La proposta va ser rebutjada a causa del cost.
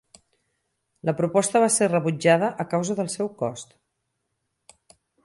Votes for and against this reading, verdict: 2, 4, rejected